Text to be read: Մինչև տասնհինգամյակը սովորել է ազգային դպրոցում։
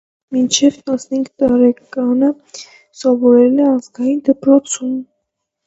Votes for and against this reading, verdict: 0, 2, rejected